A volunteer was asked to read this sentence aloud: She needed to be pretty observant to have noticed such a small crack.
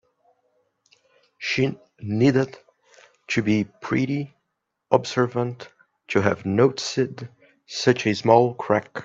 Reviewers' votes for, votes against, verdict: 1, 2, rejected